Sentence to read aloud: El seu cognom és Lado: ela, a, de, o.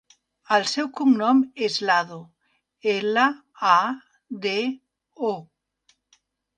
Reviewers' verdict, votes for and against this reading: accepted, 2, 0